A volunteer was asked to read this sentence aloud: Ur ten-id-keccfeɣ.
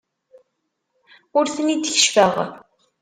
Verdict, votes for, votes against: accepted, 2, 0